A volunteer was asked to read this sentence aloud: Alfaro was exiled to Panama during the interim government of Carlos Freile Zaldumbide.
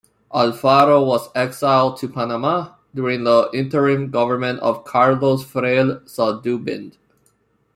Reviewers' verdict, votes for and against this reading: rejected, 1, 2